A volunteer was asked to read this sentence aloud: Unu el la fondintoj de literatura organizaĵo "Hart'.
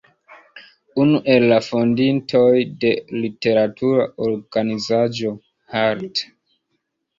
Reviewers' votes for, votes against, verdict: 2, 0, accepted